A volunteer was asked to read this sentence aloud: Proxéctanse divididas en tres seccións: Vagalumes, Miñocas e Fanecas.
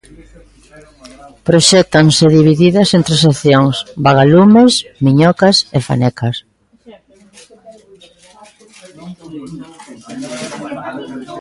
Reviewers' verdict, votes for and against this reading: accepted, 2, 0